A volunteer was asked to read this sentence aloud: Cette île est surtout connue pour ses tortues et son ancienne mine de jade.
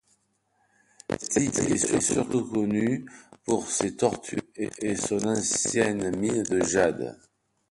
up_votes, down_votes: 0, 2